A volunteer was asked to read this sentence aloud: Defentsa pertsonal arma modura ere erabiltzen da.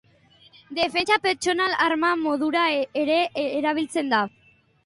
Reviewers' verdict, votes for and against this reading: rejected, 1, 2